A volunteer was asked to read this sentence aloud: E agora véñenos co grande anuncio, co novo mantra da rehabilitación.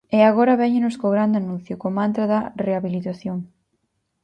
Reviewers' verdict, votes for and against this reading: rejected, 0, 4